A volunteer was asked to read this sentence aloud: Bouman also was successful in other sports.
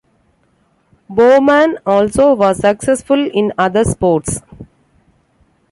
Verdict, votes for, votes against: accepted, 2, 0